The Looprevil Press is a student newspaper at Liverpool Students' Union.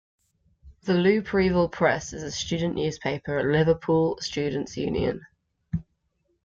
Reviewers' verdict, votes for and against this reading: accepted, 2, 0